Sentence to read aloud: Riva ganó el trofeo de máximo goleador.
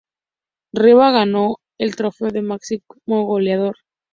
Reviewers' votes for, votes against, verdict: 2, 0, accepted